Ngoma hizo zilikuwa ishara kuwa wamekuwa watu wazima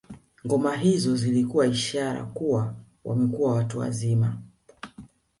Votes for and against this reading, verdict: 3, 0, accepted